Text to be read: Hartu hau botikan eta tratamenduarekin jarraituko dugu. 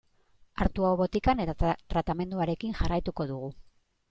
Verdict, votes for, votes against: rejected, 1, 2